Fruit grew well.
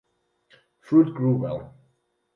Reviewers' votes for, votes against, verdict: 2, 2, rejected